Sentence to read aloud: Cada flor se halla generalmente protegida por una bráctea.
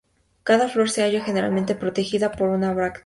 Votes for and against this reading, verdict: 0, 2, rejected